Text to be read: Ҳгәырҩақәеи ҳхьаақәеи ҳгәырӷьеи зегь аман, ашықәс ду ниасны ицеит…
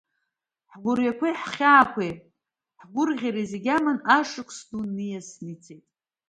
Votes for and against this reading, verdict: 2, 1, accepted